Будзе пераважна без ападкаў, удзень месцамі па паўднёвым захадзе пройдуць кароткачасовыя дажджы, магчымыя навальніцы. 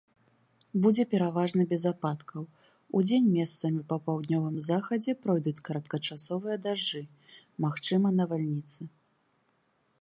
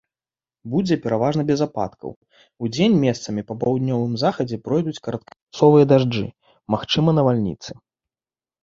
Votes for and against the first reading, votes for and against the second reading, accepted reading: 2, 0, 0, 2, first